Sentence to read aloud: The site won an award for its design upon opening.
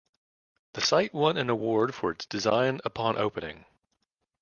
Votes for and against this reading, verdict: 2, 0, accepted